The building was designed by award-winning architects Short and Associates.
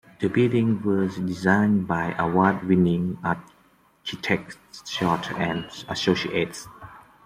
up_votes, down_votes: 2, 0